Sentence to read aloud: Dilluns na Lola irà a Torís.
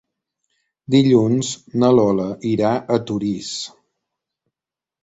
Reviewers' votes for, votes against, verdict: 3, 0, accepted